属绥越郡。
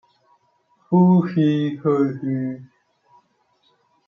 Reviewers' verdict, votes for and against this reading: rejected, 0, 2